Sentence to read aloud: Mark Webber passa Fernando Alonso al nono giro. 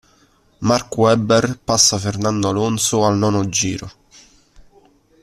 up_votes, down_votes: 2, 0